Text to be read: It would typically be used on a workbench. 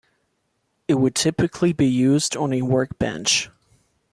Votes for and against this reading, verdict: 2, 0, accepted